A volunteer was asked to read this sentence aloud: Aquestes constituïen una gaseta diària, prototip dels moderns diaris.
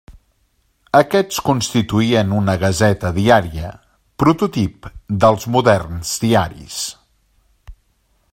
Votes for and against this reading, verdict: 1, 2, rejected